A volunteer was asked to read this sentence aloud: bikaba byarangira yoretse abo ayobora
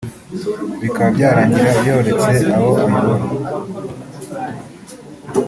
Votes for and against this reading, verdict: 3, 1, accepted